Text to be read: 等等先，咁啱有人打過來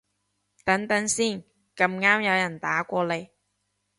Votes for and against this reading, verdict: 1, 2, rejected